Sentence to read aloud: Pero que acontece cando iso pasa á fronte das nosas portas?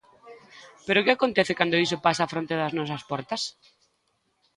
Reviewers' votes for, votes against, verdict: 2, 0, accepted